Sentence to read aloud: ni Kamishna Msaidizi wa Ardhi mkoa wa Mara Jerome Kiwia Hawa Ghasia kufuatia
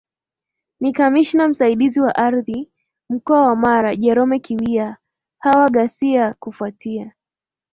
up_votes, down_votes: 2, 0